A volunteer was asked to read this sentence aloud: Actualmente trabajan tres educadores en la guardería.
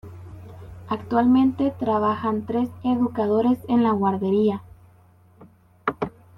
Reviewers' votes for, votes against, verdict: 2, 0, accepted